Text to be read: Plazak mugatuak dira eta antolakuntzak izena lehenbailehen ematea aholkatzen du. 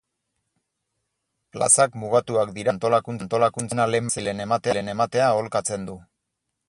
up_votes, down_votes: 0, 4